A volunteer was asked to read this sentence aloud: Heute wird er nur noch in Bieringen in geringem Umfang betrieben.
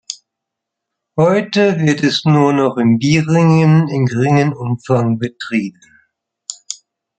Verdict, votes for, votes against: rejected, 1, 2